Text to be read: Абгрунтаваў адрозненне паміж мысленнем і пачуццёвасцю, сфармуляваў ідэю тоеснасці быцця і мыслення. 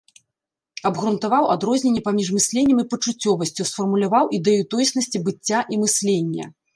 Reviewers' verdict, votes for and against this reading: accepted, 2, 0